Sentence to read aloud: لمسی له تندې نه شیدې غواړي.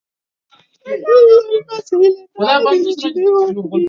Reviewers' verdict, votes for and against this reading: rejected, 2, 4